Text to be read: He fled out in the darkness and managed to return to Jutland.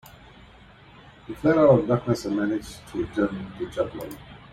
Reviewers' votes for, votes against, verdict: 0, 2, rejected